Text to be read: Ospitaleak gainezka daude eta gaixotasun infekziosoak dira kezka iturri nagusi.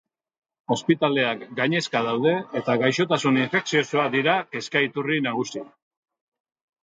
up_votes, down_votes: 2, 0